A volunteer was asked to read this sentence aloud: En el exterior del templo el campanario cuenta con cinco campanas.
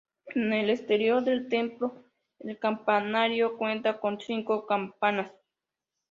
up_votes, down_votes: 1, 2